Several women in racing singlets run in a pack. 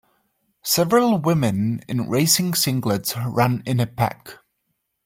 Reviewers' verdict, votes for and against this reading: accepted, 2, 0